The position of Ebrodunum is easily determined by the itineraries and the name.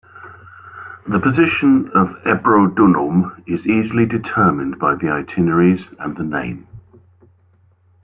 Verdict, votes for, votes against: accepted, 2, 0